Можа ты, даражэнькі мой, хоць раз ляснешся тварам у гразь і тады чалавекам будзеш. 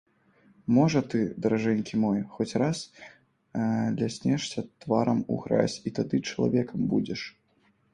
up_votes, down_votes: 1, 2